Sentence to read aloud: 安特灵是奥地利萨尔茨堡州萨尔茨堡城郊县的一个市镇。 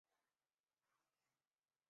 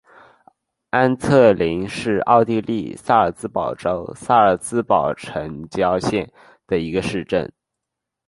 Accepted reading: second